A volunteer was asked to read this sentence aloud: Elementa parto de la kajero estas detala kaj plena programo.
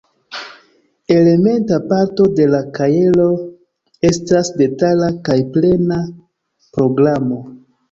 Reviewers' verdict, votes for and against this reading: accepted, 2, 0